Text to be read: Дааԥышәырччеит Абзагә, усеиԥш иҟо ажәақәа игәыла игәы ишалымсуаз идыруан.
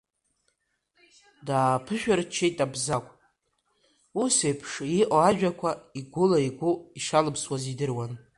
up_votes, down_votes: 2, 0